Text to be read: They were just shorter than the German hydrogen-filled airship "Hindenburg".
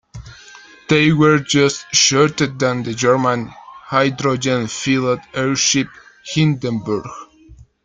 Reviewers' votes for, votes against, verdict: 2, 0, accepted